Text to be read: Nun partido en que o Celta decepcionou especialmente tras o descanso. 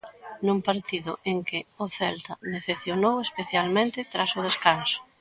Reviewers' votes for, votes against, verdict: 2, 0, accepted